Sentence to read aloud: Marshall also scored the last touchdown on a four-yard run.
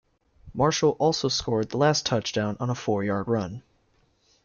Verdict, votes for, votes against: accepted, 2, 1